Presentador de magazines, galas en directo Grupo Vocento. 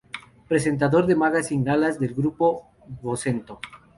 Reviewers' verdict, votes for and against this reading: rejected, 0, 2